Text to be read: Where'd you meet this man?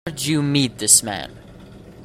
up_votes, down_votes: 1, 2